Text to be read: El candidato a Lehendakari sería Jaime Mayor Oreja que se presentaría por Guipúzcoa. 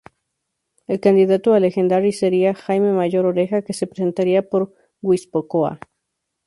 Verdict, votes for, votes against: rejected, 0, 2